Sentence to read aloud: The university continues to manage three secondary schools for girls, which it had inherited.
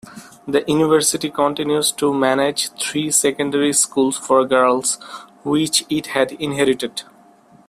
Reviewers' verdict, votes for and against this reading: accepted, 2, 1